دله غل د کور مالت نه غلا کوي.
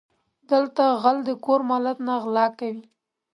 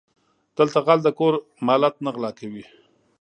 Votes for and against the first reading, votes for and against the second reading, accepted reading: 2, 0, 0, 2, first